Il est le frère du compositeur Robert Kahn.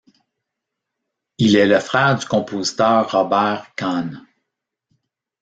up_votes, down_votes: 0, 2